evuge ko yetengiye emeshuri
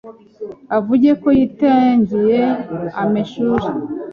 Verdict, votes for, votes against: rejected, 1, 2